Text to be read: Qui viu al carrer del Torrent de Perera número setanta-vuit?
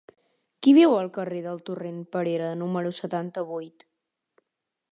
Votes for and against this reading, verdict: 2, 1, accepted